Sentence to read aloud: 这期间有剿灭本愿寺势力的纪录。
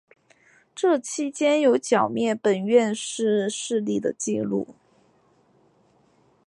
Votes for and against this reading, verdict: 3, 0, accepted